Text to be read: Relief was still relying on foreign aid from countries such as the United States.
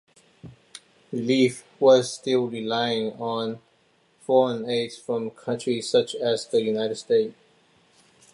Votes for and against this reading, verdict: 2, 0, accepted